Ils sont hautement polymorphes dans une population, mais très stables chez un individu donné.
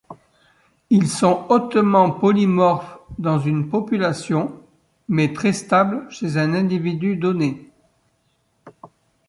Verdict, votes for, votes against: accepted, 2, 0